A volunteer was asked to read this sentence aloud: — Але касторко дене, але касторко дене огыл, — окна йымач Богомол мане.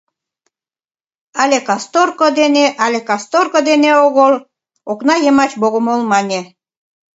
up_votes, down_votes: 2, 0